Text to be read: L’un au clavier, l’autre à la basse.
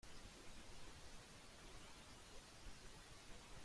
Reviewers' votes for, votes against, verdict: 0, 2, rejected